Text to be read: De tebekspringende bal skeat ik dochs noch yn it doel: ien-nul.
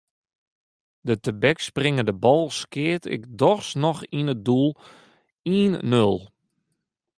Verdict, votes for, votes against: accepted, 2, 0